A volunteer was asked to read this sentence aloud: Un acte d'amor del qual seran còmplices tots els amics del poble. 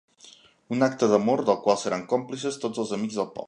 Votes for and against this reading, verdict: 1, 2, rejected